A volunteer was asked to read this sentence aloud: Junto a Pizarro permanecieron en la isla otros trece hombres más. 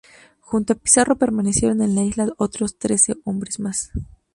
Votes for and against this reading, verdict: 0, 2, rejected